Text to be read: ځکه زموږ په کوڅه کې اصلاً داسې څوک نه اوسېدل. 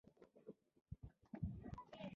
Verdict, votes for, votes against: accepted, 2, 1